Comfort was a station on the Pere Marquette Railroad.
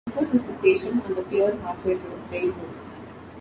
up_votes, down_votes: 0, 2